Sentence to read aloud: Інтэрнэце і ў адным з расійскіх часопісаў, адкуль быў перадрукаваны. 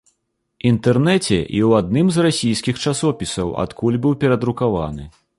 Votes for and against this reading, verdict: 2, 0, accepted